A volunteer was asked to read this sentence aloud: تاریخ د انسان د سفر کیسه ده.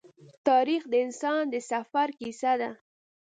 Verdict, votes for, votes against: accepted, 2, 0